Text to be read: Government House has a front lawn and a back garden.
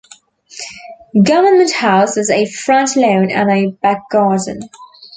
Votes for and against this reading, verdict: 2, 1, accepted